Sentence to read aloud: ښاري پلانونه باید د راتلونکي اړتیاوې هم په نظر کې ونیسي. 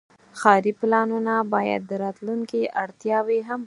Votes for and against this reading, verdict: 4, 6, rejected